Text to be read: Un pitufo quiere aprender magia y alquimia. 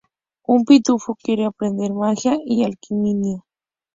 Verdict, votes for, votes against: rejected, 0, 4